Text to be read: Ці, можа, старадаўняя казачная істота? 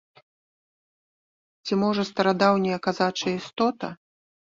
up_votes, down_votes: 1, 2